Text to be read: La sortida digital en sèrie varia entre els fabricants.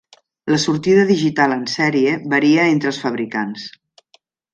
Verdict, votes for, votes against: accepted, 3, 0